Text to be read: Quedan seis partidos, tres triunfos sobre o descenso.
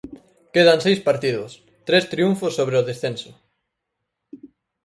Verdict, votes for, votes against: accepted, 4, 0